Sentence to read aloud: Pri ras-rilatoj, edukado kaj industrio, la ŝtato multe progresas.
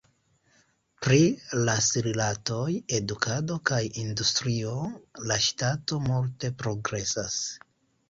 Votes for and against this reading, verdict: 2, 0, accepted